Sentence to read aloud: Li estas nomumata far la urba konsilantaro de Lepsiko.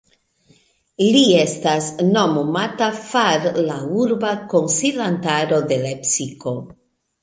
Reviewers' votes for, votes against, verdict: 1, 2, rejected